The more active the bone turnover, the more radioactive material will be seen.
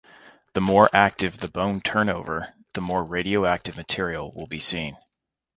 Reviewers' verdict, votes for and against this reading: accepted, 2, 0